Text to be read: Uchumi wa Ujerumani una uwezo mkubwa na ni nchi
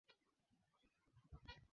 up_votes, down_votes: 0, 2